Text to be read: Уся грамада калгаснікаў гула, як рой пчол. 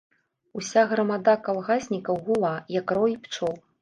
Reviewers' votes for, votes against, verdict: 2, 0, accepted